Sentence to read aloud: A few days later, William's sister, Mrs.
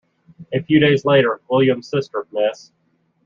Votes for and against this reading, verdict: 1, 2, rejected